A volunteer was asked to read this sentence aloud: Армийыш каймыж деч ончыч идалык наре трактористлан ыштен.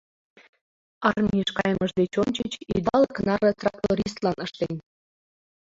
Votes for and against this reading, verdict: 1, 2, rejected